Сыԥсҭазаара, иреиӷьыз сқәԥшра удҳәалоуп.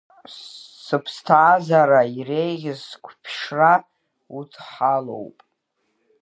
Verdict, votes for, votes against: rejected, 0, 2